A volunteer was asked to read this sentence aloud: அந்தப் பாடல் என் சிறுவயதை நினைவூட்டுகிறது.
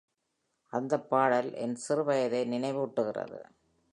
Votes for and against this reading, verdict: 2, 0, accepted